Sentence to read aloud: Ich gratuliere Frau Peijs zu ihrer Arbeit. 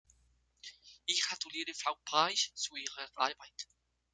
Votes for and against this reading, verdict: 1, 2, rejected